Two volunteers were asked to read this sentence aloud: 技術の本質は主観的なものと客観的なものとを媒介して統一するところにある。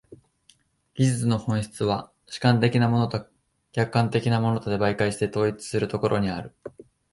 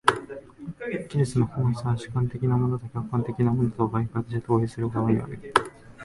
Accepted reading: first